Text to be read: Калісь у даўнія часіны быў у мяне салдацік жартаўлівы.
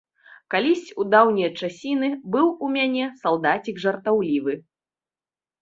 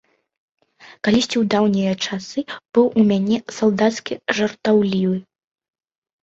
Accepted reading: first